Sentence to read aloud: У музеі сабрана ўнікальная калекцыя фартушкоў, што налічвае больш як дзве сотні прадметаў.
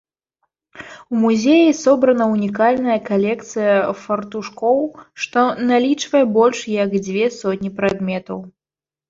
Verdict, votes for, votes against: rejected, 1, 2